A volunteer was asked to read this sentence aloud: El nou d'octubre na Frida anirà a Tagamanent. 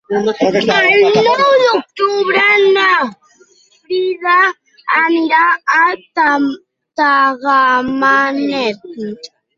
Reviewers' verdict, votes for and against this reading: rejected, 0, 2